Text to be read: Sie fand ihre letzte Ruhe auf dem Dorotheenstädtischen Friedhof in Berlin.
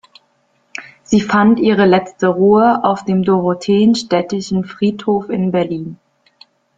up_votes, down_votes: 2, 0